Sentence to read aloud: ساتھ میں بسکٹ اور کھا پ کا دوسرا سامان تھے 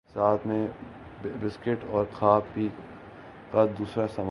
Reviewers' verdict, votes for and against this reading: rejected, 0, 2